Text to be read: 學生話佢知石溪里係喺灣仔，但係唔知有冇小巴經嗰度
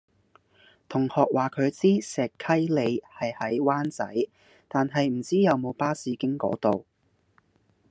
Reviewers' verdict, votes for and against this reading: rejected, 0, 2